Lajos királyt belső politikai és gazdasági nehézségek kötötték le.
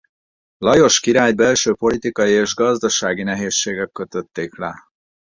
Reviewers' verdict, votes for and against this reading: rejected, 2, 2